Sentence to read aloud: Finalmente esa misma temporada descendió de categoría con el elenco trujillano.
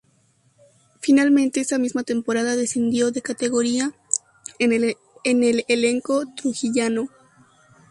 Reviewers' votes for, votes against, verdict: 2, 2, rejected